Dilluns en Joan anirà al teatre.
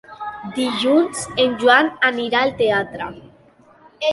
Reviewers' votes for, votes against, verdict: 3, 0, accepted